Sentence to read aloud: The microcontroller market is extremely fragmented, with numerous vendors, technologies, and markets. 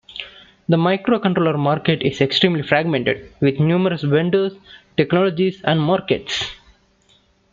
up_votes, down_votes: 2, 0